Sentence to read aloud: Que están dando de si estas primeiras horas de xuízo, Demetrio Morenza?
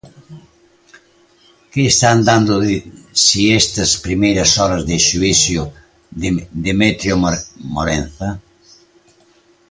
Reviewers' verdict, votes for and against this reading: rejected, 0, 2